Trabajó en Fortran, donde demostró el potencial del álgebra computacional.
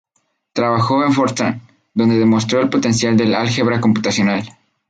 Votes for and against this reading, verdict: 8, 0, accepted